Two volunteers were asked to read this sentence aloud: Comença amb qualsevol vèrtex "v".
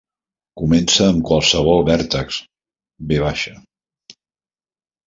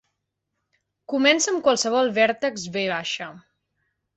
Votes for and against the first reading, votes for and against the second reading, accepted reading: 1, 2, 4, 0, second